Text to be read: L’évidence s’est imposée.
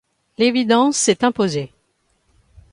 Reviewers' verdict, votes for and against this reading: accepted, 2, 0